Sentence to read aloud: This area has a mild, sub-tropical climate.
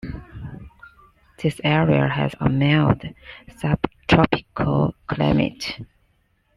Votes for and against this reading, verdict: 2, 1, accepted